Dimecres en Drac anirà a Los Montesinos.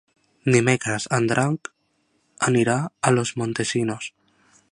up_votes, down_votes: 1, 2